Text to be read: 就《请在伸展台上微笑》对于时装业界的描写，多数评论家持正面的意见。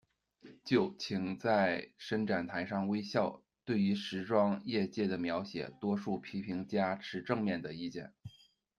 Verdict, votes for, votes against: rejected, 0, 2